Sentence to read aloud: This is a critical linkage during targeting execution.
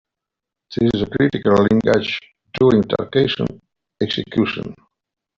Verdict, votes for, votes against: rejected, 0, 2